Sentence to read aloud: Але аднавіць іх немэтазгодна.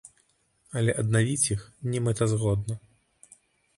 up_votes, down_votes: 2, 0